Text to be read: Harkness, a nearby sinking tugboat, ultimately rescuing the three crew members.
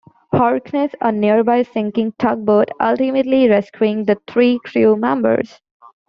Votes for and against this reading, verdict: 1, 2, rejected